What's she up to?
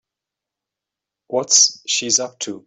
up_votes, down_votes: 0, 2